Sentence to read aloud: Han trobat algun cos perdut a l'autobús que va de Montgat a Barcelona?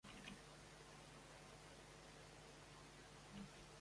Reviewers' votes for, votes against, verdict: 0, 2, rejected